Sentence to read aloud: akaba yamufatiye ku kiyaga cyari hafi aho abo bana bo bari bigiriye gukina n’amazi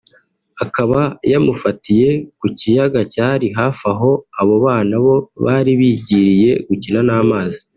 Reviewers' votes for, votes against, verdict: 3, 0, accepted